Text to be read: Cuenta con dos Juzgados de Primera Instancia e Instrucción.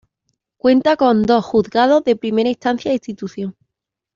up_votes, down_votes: 0, 2